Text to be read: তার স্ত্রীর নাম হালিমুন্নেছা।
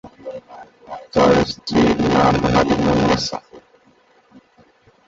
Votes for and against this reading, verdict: 1, 2, rejected